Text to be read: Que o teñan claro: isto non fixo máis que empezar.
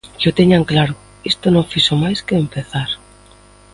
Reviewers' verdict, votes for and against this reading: accepted, 2, 0